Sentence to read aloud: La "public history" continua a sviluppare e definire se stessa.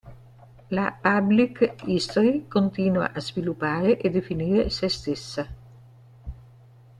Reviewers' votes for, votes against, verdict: 1, 2, rejected